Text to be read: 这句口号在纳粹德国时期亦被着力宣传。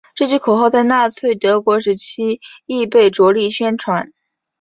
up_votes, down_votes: 4, 1